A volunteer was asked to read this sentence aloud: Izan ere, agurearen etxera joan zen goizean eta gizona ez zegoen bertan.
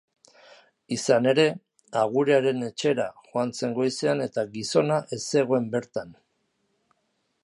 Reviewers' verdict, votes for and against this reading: accepted, 2, 0